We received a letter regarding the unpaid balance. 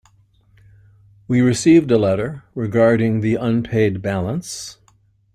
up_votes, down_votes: 2, 0